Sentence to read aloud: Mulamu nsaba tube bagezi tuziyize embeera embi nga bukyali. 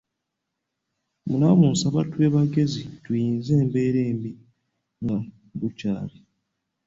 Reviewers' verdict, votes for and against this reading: rejected, 1, 2